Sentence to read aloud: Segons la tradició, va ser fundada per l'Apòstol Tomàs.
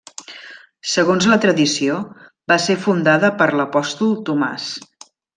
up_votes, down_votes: 3, 1